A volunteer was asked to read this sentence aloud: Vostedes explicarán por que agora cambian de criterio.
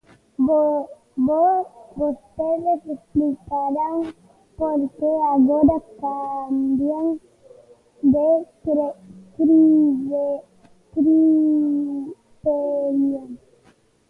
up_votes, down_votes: 0, 2